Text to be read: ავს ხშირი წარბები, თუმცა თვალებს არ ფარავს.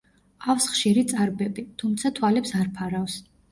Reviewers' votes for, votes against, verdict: 0, 2, rejected